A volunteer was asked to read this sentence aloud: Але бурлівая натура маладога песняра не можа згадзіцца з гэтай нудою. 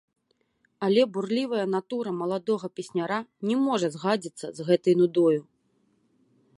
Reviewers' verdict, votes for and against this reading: rejected, 0, 2